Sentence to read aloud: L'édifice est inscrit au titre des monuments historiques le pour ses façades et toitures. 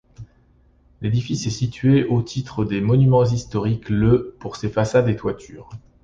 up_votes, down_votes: 0, 2